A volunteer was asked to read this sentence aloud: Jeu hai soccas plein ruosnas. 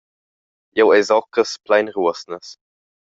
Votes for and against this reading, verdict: 1, 2, rejected